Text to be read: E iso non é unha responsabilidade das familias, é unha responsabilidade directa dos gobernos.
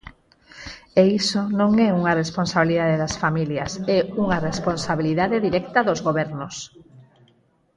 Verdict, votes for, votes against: accepted, 4, 0